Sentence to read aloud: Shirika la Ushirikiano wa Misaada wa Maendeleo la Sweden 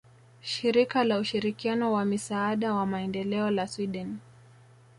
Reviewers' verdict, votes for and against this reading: accepted, 2, 0